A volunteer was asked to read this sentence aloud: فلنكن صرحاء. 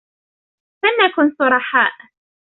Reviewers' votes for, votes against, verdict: 2, 0, accepted